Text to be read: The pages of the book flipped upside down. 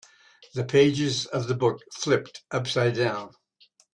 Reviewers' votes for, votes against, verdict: 2, 0, accepted